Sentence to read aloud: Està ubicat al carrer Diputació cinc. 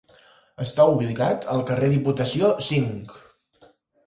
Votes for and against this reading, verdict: 2, 4, rejected